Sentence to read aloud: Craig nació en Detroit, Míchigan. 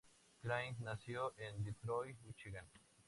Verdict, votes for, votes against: rejected, 0, 2